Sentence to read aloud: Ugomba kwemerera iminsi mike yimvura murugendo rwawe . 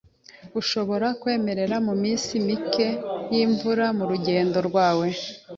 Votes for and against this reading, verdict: 2, 0, accepted